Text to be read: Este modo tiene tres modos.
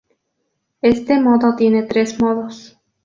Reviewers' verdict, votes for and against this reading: rejected, 0, 4